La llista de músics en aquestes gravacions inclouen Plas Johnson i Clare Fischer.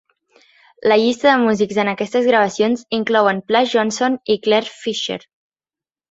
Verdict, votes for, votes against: accepted, 2, 0